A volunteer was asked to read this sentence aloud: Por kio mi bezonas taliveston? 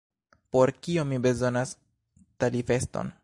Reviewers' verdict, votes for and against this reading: rejected, 0, 2